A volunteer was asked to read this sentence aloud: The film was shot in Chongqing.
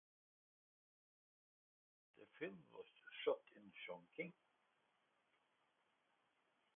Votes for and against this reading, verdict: 2, 1, accepted